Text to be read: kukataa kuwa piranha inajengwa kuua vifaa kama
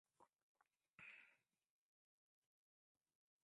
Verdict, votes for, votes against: rejected, 0, 2